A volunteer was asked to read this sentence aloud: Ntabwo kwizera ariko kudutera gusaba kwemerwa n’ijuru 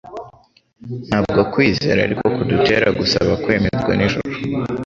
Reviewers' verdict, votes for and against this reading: accepted, 3, 0